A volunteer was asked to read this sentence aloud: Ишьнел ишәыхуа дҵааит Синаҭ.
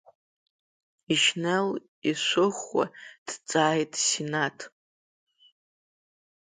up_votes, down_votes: 1, 2